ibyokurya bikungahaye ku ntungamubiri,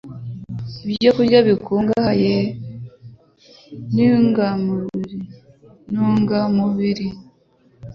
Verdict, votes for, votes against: rejected, 0, 2